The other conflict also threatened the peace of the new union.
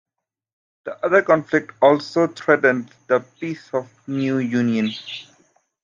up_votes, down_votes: 1, 2